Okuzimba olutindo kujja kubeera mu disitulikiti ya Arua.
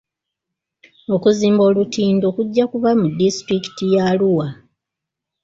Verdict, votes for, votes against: rejected, 1, 2